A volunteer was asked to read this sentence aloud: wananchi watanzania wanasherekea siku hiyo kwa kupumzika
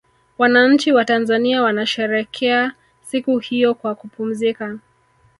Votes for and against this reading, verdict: 2, 0, accepted